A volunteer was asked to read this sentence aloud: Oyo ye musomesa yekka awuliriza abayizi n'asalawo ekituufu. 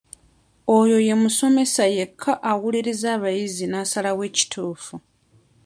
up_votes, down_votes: 2, 0